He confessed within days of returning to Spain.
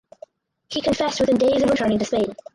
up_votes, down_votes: 0, 4